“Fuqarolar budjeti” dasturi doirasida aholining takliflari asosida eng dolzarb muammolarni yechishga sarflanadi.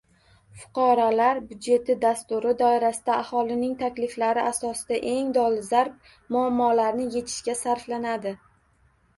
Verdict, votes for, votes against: accepted, 2, 0